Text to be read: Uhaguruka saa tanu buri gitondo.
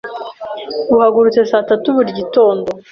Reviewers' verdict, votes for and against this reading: rejected, 0, 2